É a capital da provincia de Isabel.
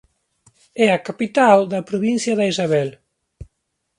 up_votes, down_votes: 2, 1